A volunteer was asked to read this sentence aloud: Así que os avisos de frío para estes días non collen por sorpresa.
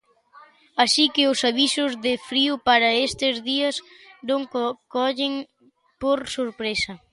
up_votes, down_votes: 1, 2